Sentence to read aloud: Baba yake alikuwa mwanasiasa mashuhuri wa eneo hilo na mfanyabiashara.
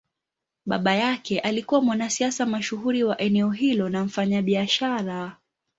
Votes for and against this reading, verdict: 2, 0, accepted